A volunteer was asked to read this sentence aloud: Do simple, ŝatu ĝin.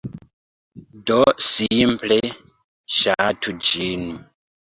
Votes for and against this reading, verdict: 2, 0, accepted